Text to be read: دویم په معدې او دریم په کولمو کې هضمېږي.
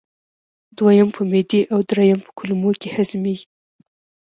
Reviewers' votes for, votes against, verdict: 3, 0, accepted